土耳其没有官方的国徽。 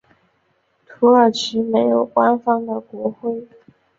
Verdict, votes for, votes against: accepted, 3, 0